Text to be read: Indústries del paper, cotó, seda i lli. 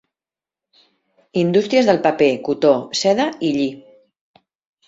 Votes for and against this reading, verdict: 3, 0, accepted